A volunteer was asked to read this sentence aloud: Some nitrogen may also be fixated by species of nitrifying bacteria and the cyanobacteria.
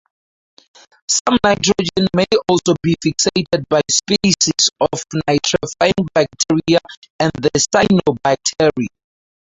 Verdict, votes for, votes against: rejected, 2, 4